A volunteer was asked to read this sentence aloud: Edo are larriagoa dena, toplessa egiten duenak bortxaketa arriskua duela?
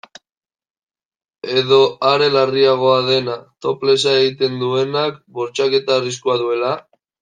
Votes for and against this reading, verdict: 0, 2, rejected